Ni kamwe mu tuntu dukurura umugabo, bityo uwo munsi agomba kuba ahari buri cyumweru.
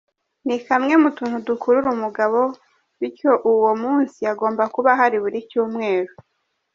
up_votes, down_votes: 2, 0